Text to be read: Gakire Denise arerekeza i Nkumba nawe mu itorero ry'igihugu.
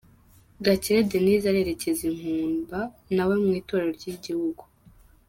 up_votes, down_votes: 2, 0